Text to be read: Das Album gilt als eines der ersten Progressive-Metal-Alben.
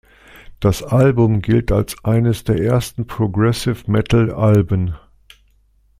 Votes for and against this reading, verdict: 2, 0, accepted